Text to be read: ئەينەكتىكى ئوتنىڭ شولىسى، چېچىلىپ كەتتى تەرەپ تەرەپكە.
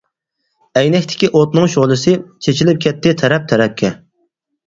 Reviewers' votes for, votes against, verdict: 4, 0, accepted